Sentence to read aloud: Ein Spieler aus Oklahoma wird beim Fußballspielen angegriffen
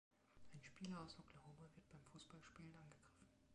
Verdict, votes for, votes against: rejected, 0, 2